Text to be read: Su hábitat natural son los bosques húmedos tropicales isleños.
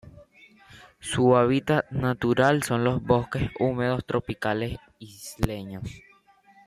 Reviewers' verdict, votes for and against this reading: rejected, 1, 3